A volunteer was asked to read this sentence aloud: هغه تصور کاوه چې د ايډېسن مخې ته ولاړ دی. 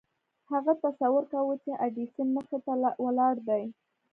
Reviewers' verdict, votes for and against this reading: accepted, 2, 0